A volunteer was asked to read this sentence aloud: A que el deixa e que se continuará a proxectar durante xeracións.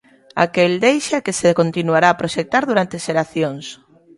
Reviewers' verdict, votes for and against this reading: accepted, 2, 0